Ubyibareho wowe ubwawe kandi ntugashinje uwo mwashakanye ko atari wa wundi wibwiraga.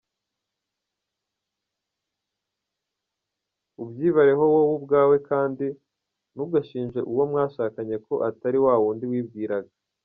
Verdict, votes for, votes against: rejected, 1, 2